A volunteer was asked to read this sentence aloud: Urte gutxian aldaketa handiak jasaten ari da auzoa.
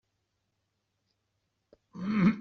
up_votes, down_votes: 0, 2